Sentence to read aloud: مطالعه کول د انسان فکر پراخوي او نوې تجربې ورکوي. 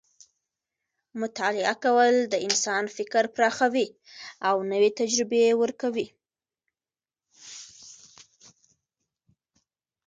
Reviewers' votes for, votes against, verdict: 0, 2, rejected